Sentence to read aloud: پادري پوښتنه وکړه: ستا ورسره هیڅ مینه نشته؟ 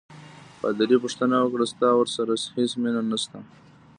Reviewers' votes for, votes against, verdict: 1, 2, rejected